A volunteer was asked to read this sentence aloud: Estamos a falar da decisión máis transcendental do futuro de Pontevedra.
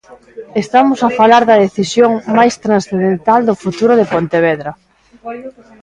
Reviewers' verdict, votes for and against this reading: rejected, 1, 2